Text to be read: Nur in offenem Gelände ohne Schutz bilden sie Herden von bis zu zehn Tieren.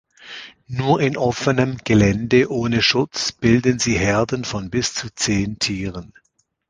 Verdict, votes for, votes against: accepted, 2, 0